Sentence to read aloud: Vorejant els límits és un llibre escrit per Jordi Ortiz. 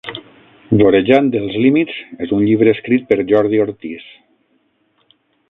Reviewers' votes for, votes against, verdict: 0, 6, rejected